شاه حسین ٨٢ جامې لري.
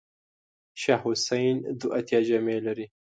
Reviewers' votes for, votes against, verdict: 0, 2, rejected